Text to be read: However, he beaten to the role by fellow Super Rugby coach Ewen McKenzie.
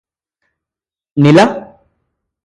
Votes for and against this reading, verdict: 0, 2, rejected